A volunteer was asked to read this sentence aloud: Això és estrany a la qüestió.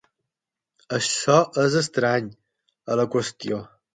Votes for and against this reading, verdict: 12, 0, accepted